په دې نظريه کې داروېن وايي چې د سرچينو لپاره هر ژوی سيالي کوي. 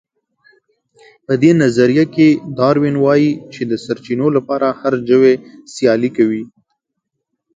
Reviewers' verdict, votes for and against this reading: accepted, 2, 0